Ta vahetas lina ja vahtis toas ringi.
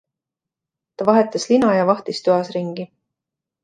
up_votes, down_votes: 2, 0